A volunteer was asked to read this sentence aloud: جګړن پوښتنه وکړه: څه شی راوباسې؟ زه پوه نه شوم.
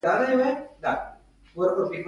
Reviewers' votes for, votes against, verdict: 1, 2, rejected